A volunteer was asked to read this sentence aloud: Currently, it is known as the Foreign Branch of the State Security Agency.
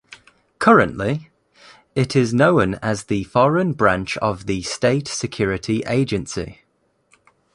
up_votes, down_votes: 2, 0